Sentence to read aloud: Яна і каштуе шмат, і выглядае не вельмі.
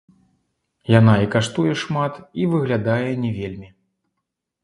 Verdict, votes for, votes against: rejected, 1, 2